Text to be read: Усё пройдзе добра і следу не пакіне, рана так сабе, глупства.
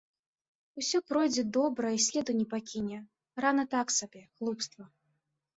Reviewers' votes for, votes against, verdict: 2, 0, accepted